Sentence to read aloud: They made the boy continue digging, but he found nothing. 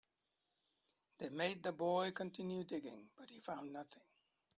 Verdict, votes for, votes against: accepted, 2, 0